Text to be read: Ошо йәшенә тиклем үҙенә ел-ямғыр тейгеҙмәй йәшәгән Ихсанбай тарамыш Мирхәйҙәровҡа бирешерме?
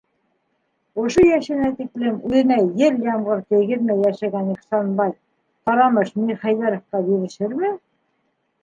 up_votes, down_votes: 0, 2